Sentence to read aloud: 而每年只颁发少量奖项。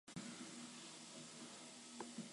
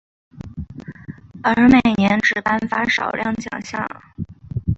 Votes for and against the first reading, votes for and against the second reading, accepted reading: 1, 2, 3, 0, second